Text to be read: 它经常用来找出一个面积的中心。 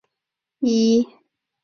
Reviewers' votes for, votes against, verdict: 0, 2, rejected